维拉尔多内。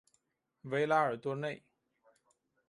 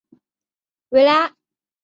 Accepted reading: first